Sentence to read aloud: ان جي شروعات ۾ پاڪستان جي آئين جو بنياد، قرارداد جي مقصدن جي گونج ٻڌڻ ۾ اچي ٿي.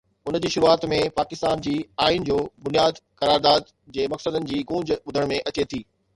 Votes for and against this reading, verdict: 0, 2, rejected